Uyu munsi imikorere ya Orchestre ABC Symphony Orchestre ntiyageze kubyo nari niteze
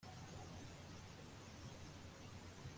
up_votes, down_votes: 0, 2